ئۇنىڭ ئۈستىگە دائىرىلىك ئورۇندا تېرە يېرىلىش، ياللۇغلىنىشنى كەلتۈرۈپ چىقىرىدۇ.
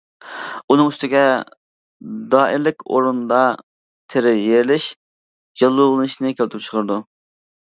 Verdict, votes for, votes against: accepted, 2, 0